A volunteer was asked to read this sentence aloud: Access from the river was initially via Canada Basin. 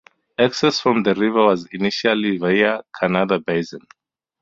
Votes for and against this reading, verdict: 2, 2, rejected